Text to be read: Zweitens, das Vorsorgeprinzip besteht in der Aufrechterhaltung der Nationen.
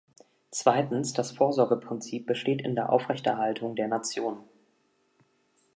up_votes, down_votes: 2, 0